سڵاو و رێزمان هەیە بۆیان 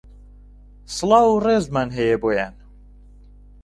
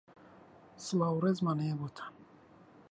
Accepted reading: first